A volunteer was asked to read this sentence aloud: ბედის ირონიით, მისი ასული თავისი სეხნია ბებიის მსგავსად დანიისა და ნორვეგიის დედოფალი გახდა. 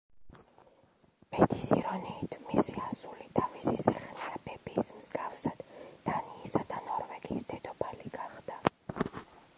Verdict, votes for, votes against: rejected, 1, 2